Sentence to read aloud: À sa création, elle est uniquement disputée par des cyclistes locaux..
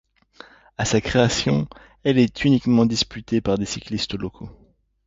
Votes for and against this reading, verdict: 2, 0, accepted